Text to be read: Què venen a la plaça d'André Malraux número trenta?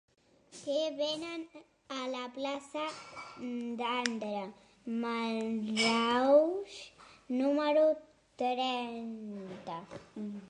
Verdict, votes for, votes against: rejected, 0, 4